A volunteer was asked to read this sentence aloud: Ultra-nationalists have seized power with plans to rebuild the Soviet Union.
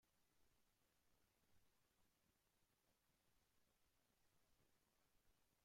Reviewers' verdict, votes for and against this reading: rejected, 0, 2